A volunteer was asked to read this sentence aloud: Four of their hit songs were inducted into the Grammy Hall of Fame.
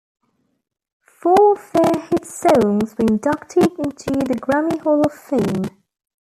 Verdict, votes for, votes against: rejected, 1, 2